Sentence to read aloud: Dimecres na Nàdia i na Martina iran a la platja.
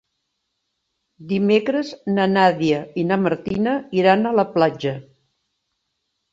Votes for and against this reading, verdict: 2, 0, accepted